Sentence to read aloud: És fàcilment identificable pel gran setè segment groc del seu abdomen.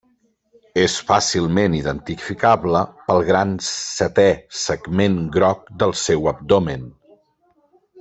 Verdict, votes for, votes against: accepted, 3, 0